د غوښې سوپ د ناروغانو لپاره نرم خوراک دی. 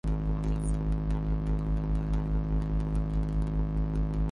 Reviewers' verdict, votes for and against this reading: rejected, 0, 2